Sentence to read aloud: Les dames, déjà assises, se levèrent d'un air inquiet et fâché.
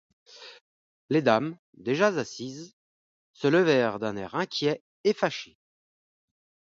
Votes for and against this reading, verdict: 0, 2, rejected